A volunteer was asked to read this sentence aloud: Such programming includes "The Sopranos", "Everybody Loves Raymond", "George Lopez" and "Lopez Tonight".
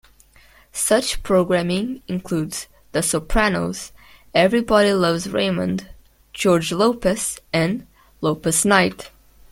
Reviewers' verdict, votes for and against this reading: rejected, 0, 2